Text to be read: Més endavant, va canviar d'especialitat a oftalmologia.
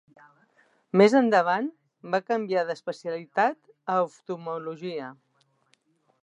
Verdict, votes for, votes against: rejected, 1, 2